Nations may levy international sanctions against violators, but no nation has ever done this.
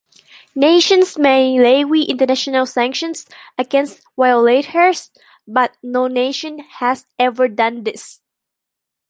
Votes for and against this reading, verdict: 0, 2, rejected